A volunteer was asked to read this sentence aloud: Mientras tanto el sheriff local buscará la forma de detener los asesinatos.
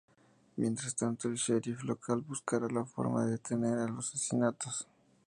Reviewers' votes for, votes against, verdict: 2, 2, rejected